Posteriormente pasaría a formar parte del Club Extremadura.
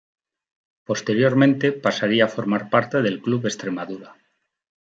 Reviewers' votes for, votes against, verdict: 0, 2, rejected